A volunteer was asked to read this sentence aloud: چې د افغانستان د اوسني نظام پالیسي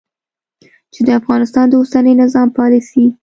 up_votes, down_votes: 2, 0